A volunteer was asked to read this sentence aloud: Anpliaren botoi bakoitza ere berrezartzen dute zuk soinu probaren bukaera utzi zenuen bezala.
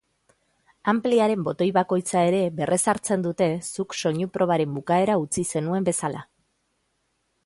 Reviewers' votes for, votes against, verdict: 2, 0, accepted